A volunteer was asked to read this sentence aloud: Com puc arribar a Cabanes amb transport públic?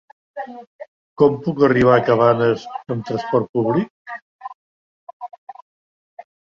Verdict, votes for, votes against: rejected, 1, 3